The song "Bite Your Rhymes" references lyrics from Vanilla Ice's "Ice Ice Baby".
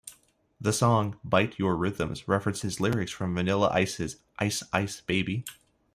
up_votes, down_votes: 1, 2